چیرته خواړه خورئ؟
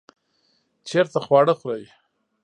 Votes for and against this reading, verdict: 2, 0, accepted